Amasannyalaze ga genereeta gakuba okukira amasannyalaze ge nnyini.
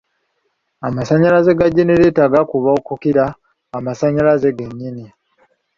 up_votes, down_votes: 2, 0